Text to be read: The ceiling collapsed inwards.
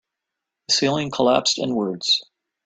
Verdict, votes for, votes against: accepted, 2, 0